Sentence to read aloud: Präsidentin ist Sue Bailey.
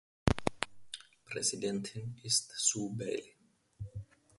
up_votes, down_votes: 2, 1